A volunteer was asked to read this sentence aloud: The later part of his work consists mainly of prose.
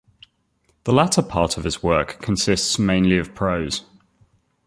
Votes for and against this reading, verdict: 1, 2, rejected